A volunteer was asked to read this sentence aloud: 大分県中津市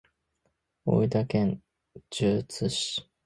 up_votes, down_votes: 1, 2